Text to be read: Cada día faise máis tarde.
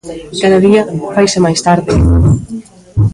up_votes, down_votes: 2, 1